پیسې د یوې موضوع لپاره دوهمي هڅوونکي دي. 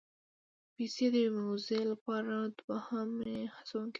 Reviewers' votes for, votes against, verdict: 1, 2, rejected